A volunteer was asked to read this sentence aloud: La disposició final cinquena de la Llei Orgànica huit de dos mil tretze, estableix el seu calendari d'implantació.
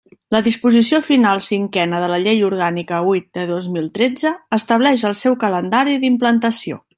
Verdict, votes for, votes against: accepted, 3, 0